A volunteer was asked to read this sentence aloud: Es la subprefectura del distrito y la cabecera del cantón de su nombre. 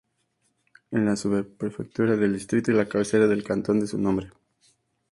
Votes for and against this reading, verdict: 0, 2, rejected